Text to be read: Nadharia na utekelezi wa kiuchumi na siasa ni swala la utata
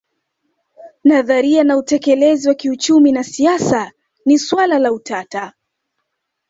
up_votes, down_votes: 1, 2